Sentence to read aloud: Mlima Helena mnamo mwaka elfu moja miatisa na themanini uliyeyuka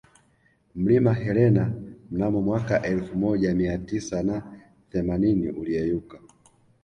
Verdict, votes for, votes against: accepted, 2, 0